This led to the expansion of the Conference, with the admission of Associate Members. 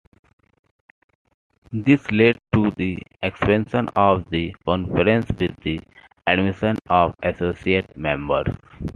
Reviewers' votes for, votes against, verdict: 2, 0, accepted